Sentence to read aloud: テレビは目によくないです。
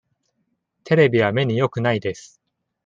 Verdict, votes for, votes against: accepted, 2, 0